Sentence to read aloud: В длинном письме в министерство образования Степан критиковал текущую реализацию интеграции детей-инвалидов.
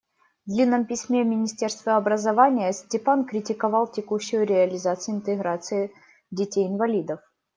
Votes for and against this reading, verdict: 2, 0, accepted